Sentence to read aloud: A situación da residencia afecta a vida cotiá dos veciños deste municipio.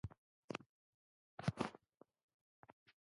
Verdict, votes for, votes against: rejected, 0, 2